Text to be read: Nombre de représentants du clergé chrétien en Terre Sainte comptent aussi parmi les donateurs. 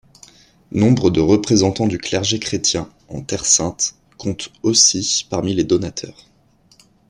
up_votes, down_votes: 2, 0